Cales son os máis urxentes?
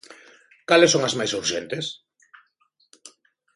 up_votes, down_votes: 0, 2